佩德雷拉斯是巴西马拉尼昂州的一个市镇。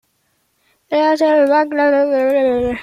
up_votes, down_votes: 0, 2